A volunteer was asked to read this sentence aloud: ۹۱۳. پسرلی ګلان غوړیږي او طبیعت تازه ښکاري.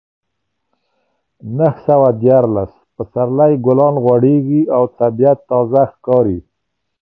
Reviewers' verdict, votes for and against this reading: rejected, 0, 2